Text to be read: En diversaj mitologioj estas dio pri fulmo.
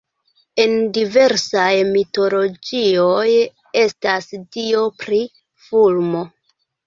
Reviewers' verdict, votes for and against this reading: rejected, 1, 3